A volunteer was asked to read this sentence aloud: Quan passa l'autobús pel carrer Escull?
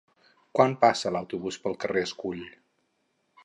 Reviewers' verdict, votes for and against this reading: accepted, 4, 0